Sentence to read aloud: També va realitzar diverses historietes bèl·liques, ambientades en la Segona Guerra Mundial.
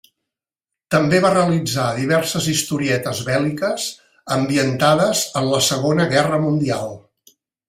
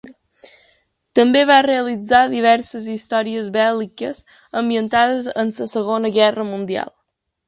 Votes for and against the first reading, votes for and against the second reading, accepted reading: 3, 0, 1, 2, first